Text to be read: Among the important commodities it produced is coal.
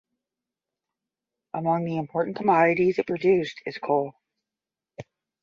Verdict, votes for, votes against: accepted, 10, 0